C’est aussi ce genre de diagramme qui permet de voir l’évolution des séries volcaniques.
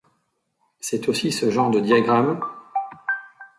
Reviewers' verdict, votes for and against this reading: rejected, 0, 2